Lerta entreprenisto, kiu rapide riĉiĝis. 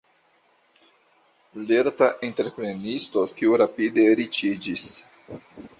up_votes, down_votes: 3, 0